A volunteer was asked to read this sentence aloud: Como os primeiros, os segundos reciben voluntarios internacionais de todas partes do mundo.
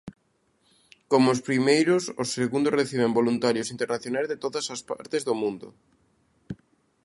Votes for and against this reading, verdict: 0, 2, rejected